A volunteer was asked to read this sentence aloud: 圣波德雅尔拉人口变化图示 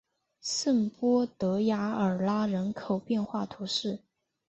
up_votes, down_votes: 0, 2